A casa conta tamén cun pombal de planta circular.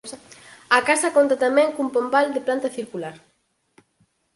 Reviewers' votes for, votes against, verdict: 4, 0, accepted